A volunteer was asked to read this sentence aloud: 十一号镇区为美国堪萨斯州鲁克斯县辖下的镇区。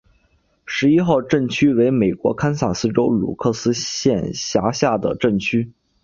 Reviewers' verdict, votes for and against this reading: accepted, 3, 1